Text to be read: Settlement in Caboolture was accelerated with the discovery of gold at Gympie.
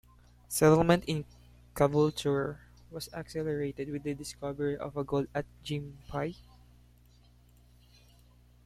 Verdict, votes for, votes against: accepted, 2, 0